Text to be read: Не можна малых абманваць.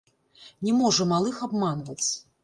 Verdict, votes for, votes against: rejected, 1, 2